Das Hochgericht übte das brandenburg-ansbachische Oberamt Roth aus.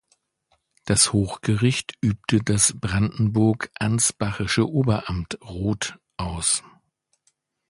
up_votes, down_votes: 2, 0